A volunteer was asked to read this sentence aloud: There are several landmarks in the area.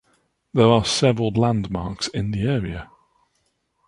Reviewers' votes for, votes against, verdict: 2, 0, accepted